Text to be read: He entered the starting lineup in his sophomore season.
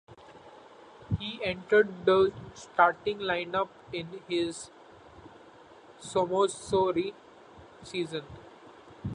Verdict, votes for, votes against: rejected, 0, 2